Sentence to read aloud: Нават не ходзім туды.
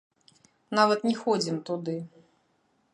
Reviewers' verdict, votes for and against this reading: rejected, 0, 2